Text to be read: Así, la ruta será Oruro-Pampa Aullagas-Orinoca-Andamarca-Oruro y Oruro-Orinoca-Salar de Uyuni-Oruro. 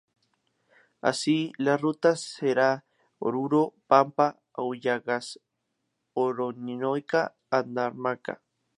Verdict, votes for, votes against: rejected, 0, 2